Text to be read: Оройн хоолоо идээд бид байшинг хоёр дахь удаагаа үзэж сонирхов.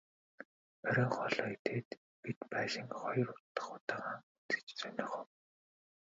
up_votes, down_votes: 2, 0